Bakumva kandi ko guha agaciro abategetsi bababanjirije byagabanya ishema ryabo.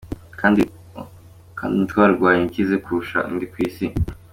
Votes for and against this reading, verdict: 0, 2, rejected